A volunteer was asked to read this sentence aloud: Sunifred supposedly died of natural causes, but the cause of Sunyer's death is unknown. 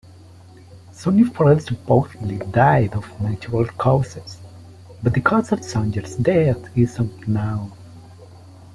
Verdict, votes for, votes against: rejected, 1, 2